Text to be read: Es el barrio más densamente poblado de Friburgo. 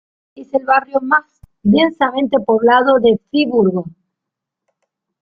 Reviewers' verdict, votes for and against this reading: rejected, 0, 2